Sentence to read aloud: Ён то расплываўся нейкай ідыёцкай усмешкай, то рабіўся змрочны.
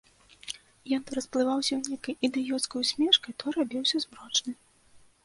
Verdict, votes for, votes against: accepted, 3, 0